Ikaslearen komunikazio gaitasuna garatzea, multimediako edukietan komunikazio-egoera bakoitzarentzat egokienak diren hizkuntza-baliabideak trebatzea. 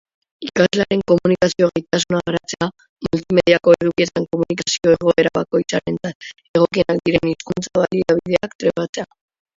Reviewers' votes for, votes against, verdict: 0, 3, rejected